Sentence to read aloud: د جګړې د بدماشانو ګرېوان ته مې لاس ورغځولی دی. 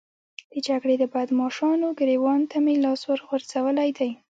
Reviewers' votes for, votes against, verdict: 2, 1, accepted